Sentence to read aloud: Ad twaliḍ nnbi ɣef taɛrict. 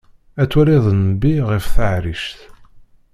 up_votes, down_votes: 1, 2